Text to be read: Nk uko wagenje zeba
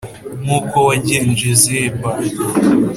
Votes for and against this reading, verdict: 2, 0, accepted